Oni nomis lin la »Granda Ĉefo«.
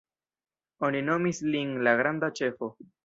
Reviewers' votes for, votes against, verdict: 2, 1, accepted